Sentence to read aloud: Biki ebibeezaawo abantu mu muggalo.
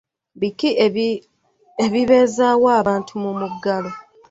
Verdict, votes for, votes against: rejected, 1, 2